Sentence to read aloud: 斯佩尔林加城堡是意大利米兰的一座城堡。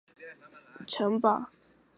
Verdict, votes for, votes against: rejected, 1, 2